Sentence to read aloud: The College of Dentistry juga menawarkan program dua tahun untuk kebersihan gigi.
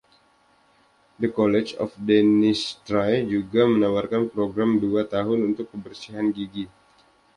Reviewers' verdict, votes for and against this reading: rejected, 1, 2